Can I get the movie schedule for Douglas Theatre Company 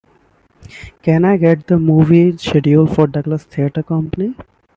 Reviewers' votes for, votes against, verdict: 2, 1, accepted